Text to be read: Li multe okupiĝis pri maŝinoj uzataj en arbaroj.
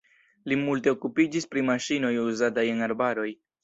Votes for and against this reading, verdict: 2, 0, accepted